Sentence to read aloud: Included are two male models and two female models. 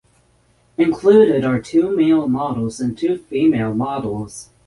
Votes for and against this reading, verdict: 3, 3, rejected